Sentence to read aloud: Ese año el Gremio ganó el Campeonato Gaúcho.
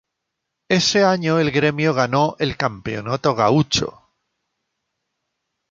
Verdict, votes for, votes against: rejected, 2, 2